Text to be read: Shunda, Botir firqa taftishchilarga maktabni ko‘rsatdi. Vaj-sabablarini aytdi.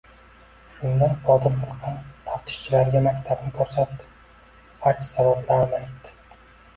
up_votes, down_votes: 1, 2